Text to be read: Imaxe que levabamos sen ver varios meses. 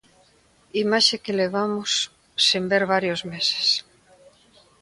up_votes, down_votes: 2, 0